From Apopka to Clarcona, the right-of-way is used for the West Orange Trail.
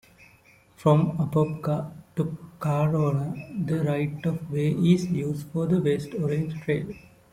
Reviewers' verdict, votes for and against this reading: rejected, 0, 2